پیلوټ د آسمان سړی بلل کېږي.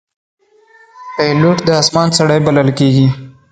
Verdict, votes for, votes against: rejected, 0, 2